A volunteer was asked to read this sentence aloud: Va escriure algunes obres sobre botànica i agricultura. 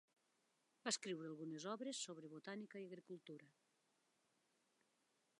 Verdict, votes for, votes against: accepted, 2, 0